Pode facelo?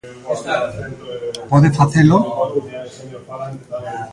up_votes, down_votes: 0, 2